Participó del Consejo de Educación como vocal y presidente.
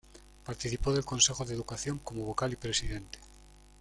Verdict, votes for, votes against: accepted, 2, 0